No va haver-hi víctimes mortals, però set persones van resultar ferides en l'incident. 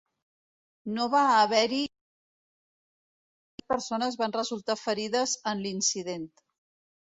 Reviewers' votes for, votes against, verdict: 0, 2, rejected